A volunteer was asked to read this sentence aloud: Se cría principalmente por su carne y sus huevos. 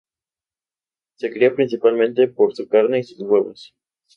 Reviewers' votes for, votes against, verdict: 2, 0, accepted